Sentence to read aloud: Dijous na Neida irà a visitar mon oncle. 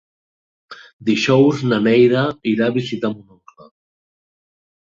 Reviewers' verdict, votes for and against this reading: rejected, 0, 2